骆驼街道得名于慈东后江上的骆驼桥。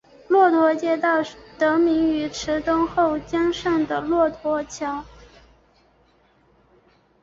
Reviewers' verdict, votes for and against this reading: accepted, 3, 1